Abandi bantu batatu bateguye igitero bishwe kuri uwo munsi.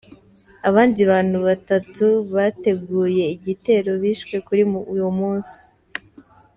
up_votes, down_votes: 2, 0